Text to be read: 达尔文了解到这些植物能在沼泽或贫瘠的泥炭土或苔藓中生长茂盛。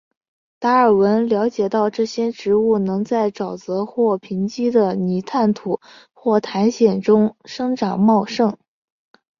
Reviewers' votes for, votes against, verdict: 3, 0, accepted